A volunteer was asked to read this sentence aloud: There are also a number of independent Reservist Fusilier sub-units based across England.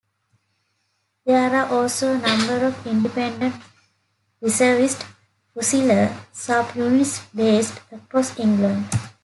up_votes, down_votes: 2, 1